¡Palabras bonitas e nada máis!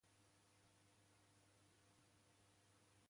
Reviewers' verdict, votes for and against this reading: rejected, 0, 2